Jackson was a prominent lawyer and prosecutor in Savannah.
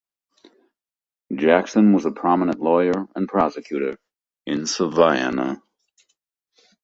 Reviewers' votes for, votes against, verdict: 1, 2, rejected